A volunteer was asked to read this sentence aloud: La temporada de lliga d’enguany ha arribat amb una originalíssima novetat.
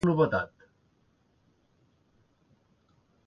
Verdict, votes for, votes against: rejected, 0, 2